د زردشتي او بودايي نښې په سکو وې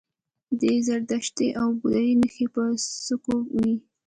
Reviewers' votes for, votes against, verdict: 0, 2, rejected